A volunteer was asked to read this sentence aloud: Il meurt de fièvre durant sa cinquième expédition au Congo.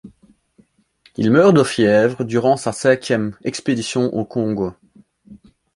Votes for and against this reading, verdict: 2, 0, accepted